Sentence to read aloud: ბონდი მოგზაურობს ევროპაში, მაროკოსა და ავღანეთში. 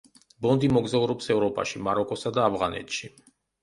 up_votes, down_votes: 2, 0